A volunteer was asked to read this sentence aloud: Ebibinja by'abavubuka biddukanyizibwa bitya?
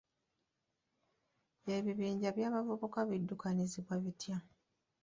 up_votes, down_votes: 0, 2